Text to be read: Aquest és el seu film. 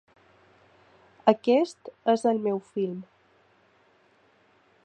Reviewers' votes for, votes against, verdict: 1, 3, rejected